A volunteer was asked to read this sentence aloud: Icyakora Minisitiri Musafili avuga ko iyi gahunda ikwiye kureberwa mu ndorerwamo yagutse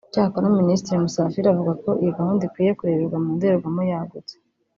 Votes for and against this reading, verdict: 1, 2, rejected